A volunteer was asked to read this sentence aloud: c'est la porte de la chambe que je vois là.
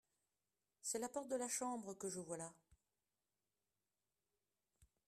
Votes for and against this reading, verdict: 1, 2, rejected